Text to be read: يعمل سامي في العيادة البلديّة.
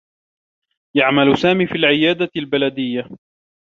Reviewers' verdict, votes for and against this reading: accepted, 2, 0